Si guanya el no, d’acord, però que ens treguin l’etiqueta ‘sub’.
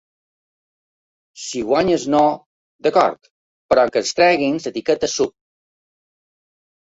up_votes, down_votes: 0, 2